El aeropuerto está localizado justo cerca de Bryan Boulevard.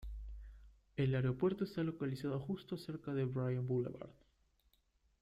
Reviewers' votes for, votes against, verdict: 2, 0, accepted